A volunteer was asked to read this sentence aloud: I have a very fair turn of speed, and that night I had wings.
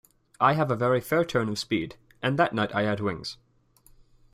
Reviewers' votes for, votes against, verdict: 1, 2, rejected